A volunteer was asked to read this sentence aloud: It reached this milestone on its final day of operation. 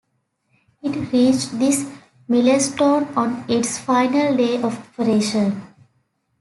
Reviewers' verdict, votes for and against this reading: rejected, 0, 2